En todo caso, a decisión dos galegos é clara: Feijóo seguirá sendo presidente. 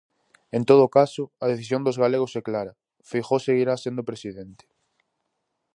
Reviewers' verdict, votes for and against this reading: accepted, 4, 0